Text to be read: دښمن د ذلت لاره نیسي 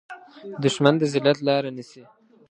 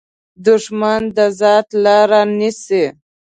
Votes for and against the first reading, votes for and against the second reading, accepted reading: 2, 0, 1, 2, first